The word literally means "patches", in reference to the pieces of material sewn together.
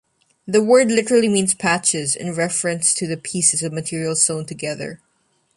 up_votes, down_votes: 2, 0